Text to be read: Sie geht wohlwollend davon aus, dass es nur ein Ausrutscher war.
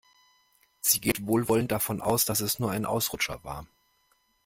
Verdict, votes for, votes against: accepted, 2, 0